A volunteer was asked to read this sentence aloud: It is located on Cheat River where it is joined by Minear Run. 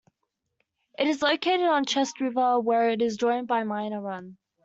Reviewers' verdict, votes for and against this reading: rejected, 1, 2